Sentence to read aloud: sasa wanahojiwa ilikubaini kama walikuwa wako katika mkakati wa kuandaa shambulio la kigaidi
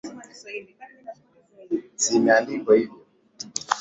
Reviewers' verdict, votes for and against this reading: rejected, 2, 11